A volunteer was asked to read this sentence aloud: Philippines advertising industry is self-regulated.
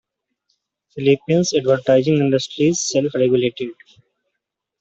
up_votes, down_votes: 0, 2